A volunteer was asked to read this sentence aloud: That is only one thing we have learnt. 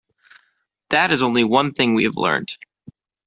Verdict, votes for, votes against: accepted, 2, 0